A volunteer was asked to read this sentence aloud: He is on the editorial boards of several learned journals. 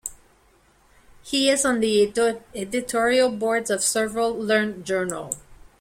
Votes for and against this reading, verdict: 1, 2, rejected